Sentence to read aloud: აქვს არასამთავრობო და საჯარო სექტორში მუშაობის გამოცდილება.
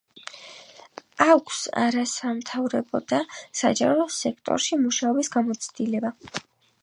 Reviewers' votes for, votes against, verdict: 4, 1, accepted